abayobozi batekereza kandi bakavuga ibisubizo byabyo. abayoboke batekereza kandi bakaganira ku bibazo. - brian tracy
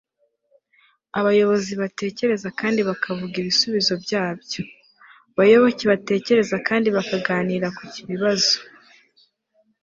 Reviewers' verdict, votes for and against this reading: rejected, 1, 2